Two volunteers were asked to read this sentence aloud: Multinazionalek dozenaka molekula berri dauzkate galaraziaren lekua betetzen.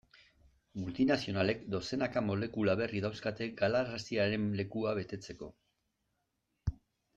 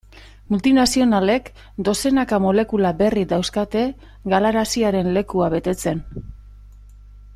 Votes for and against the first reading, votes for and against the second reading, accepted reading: 0, 2, 2, 0, second